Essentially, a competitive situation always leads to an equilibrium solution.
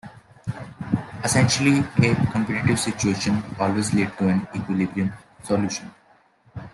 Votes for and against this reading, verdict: 1, 2, rejected